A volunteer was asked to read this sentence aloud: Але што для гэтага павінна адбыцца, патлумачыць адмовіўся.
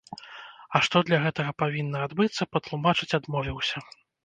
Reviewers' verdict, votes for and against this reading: rejected, 1, 2